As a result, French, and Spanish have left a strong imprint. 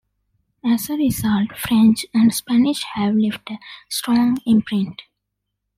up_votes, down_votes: 2, 0